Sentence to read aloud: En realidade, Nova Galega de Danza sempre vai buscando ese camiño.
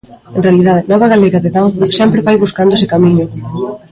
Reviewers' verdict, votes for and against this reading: rejected, 0, 2